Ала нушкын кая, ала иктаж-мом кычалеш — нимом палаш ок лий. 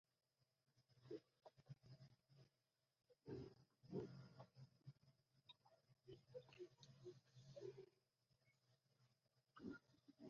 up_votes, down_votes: 1, 2